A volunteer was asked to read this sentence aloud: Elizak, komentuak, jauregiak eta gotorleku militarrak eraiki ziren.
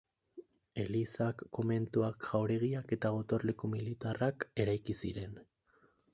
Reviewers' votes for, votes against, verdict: 4, 0, accepted